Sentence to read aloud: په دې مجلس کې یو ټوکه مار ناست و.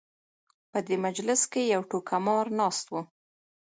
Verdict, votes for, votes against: rejected, 0, 2